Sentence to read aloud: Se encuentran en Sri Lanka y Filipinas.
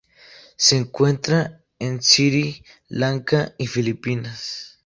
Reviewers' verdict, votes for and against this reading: rejected, 2, 2